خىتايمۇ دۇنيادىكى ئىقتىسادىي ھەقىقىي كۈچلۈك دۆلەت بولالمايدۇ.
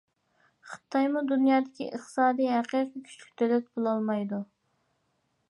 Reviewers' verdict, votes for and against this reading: accepted, 2, 0